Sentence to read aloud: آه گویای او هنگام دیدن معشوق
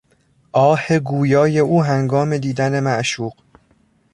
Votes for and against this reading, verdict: 1, 2, rejected